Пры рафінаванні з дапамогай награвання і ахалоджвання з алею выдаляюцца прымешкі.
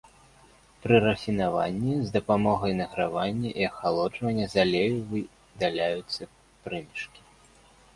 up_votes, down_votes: 1, 2